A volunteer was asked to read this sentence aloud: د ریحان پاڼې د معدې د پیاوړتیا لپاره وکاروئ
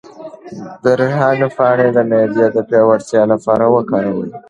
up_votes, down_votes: 1, 2